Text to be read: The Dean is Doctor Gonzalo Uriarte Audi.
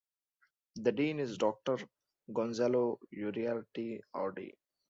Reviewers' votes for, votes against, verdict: 2, 0, accepted